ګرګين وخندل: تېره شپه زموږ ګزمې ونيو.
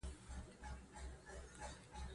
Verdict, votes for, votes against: rejected, 0, 2